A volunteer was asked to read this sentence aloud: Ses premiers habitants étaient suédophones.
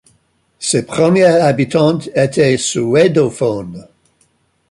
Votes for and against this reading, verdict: 2, 0, accepted